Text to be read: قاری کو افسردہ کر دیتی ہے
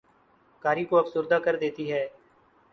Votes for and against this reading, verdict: 6, 0, accepted